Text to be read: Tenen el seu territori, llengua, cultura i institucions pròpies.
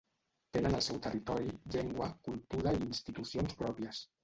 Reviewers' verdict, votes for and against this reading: rejected, 1, 2